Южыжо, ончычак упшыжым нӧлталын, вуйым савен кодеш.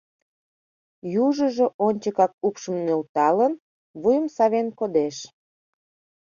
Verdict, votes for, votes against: rejected, 0, 2